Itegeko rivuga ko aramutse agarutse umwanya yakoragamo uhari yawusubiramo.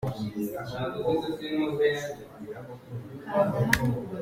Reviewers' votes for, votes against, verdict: 0, 3, rejected